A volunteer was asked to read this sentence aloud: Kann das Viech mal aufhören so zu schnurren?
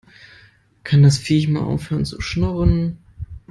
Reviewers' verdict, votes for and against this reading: rejected, 0, 2